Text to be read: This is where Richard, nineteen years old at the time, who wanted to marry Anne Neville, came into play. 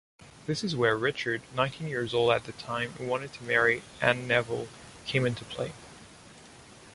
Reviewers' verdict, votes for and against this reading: accepted, 2, 0